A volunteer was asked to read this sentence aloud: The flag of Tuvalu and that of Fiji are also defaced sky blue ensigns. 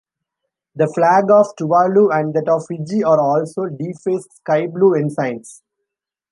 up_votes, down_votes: 2, 0